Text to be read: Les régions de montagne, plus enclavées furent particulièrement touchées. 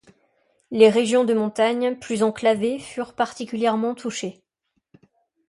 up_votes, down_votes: 2, 0